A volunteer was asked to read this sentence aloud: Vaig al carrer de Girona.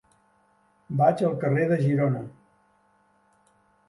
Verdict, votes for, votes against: accepted, 3, 0